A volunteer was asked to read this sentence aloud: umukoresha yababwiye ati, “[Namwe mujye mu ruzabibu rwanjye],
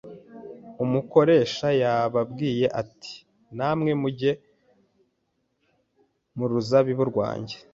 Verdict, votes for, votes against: accepted, 3, 0